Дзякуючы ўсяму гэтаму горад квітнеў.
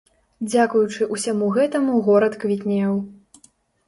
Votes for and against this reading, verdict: 2, 0, accepted